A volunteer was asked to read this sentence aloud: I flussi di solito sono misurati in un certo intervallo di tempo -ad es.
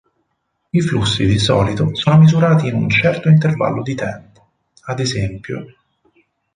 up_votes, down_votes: 0, 4